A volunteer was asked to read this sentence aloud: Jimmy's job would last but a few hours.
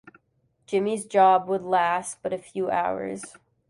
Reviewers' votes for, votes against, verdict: 2, 0, accepted